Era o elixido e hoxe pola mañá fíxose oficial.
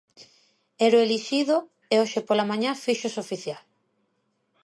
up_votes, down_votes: 2, 0